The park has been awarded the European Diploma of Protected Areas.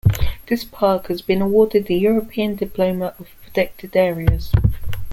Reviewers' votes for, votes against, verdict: 0, 2, rejected